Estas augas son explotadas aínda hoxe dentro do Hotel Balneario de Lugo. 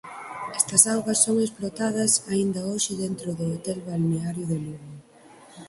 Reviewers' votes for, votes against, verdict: 4, 2, accepted